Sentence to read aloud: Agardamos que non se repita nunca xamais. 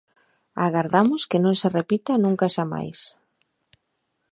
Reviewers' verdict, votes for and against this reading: accepted, 2, 0